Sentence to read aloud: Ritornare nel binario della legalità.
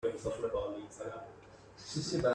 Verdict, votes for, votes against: rejected, 0, 2